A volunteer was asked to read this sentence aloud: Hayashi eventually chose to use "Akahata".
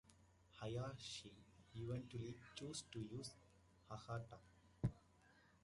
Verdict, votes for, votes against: rejected, 0, 2